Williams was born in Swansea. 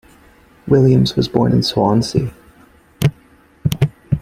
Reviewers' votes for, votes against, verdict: 2, 0, accepted